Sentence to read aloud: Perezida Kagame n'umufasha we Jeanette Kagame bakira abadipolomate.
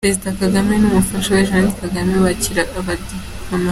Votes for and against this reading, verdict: 0, 2, rejected